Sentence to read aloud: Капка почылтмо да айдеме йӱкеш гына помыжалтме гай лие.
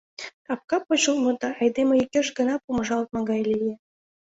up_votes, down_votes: 2, 0